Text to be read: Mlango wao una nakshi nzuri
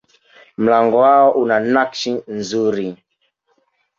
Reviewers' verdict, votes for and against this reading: accepted, 2, 0